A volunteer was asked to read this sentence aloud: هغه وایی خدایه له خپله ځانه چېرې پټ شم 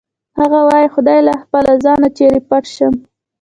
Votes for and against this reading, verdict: 2, 0, accepted